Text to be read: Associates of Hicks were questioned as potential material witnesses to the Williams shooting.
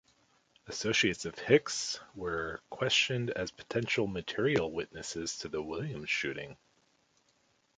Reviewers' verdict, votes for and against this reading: accepted, 2, 0